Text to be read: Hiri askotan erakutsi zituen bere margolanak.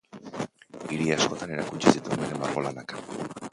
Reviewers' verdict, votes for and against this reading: rejected, 0, 2